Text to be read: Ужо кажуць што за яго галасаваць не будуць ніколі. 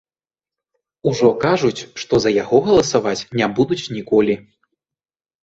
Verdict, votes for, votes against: accepted, 2, 0